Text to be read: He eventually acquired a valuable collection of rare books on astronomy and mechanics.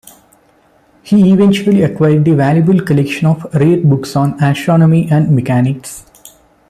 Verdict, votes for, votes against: accepted, 2, 0